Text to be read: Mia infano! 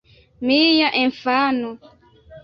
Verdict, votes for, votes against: rejected, 1, 2